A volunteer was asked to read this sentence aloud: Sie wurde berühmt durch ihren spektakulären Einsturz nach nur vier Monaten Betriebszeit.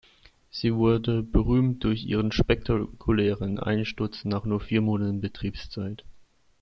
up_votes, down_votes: 2, 0